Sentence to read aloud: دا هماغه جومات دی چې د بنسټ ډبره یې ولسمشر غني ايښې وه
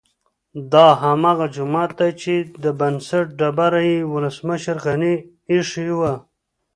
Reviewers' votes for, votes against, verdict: 2, 0, accepted